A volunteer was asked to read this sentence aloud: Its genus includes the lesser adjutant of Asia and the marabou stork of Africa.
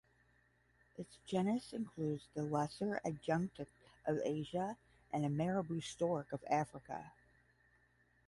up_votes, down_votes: 5, 10